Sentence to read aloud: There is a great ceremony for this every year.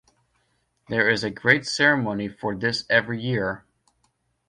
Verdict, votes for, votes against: accepted, 2, 0